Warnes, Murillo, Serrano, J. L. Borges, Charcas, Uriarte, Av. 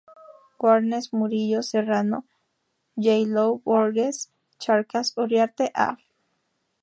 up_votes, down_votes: 0, 2